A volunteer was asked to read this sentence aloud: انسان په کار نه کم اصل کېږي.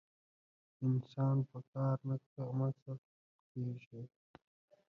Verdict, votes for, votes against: rejected, 0, 2